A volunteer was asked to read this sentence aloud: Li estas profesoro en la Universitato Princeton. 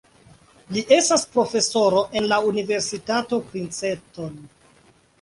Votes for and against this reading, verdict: 2, 1, accepted